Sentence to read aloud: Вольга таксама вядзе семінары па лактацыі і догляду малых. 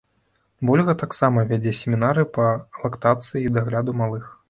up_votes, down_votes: 0, 2